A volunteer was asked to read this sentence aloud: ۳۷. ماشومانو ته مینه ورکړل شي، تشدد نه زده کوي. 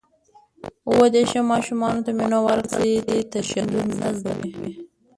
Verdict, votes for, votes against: rejected, 0, 2